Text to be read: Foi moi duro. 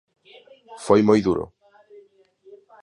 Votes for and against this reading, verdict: 2, 0, accepted